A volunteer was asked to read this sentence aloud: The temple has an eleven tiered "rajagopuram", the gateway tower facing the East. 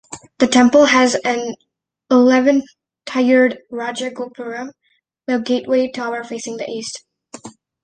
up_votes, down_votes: 1, 2